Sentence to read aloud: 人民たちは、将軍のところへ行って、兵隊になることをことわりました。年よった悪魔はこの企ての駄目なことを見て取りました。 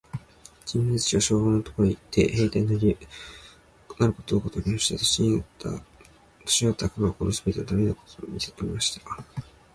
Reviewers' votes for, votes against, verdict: 0, 2, rejected